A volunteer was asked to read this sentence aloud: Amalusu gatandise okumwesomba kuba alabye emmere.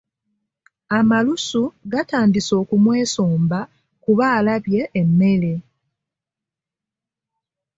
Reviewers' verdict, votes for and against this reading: accepted, 2, 0